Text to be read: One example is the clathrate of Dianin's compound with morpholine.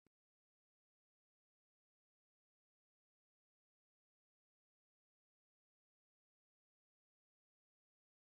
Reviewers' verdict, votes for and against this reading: rejected, 0, 2